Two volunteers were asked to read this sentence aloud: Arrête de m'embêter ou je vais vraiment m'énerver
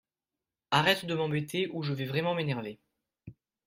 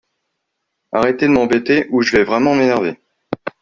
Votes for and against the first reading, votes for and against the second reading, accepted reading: 3, 0, 1, 2, first